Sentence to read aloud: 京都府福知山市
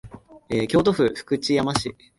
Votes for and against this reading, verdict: 2, 1, accepted